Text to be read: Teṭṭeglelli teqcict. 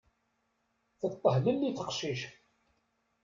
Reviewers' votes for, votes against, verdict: 0, 2, rejected